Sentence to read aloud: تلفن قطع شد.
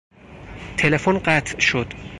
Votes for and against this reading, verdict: 4, 0, accepted